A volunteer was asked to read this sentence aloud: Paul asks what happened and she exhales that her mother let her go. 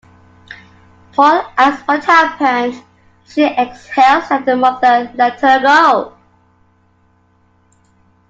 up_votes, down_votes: 0, 2